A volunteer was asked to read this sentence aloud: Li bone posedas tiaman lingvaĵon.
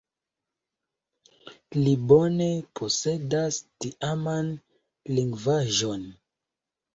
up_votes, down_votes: 2, 0